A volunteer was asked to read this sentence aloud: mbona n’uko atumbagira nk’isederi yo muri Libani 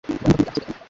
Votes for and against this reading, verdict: 0, 2, rejected